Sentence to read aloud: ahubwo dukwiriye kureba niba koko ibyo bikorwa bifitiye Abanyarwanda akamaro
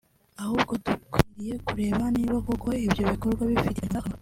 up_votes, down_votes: 1, 2